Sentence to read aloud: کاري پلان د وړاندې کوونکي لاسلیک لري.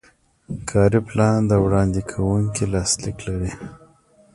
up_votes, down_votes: 2, 1